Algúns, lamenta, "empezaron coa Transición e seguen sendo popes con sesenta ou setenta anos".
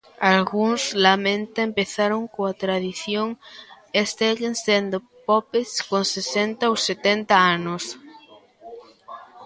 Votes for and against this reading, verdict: 0, 2, rejected